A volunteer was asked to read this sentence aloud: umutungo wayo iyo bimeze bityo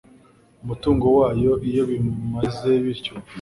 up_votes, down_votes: 1, 2